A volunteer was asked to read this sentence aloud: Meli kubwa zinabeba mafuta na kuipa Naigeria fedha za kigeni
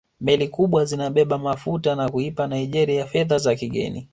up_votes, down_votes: 2, 0